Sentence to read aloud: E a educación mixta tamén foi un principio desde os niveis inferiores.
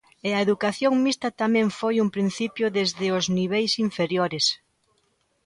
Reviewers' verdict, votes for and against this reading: accepted, 2, 0